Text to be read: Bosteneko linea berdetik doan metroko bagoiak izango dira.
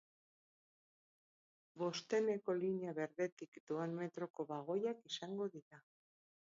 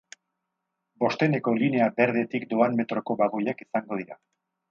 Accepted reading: second